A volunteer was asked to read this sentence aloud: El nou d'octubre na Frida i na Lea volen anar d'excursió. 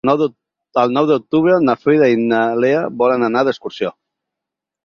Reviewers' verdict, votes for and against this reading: rejected, 0, 4